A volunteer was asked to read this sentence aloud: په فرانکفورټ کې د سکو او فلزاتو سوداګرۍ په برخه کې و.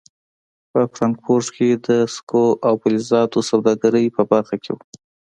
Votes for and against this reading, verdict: 2, 0, accepted